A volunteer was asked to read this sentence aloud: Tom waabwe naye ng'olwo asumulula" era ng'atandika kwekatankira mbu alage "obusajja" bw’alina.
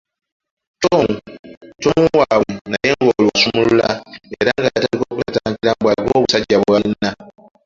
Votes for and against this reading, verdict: 0, 2, rejected